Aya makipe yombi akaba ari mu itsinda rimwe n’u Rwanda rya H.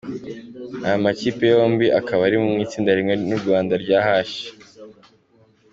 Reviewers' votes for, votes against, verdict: 3, 0, accepted